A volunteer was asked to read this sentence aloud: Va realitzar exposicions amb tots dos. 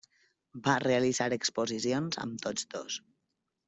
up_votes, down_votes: 3, 0